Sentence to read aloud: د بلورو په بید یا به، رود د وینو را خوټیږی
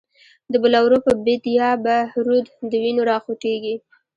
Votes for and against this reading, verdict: 2, 0, accepted